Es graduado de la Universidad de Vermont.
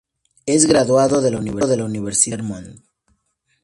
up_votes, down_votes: 0, 4